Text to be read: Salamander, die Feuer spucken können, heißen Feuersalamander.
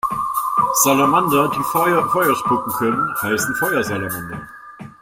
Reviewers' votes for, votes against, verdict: 0, 2, rejected